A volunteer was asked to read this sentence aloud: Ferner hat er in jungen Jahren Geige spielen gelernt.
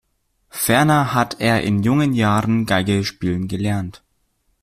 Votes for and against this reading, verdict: 2, 1, accepted